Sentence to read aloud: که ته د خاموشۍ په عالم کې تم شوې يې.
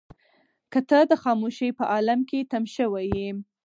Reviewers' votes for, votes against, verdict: 4, 0, accepted